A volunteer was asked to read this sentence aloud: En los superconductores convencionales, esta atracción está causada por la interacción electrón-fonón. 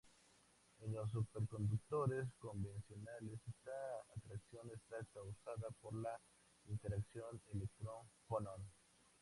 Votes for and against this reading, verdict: 2, 0, accepted